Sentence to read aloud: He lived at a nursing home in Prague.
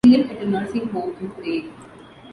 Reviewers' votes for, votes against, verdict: 0, 2, rejected